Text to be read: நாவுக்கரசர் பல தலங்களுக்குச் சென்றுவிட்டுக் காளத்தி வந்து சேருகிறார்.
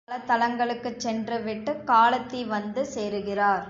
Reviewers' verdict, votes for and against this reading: rejected, 1, 2